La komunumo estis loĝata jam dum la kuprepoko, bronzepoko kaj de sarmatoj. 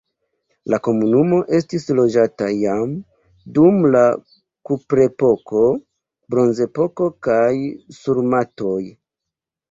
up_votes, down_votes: 0, 2